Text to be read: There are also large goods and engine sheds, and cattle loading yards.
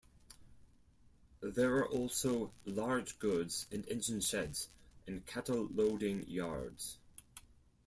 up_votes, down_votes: 4, 0